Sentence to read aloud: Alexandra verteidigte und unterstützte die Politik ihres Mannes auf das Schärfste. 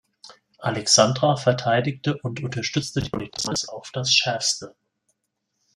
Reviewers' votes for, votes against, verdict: 0, 2, rejected